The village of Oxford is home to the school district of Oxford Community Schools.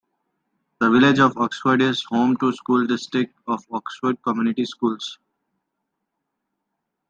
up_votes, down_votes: 2, 0